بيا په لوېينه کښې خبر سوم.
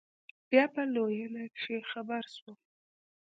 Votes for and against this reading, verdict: 2, 1, accepted